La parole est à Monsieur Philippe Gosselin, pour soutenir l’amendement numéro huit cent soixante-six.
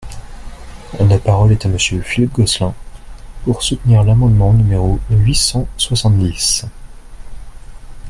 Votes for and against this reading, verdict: 0, 2, rejected